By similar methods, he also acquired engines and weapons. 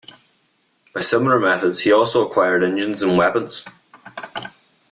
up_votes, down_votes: 2, 1